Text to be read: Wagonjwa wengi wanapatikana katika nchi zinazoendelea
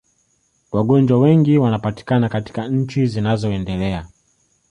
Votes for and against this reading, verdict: 3, 1, accepted